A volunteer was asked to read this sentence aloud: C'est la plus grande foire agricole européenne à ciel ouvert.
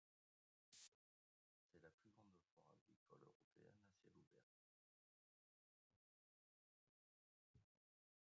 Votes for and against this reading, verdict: 1, 2, rejected